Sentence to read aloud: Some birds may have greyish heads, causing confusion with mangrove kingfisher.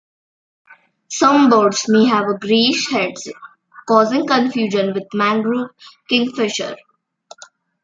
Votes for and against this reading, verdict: 0, 2, rejected